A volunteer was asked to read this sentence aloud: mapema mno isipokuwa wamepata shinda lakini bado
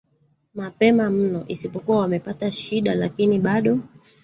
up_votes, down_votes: 1, 2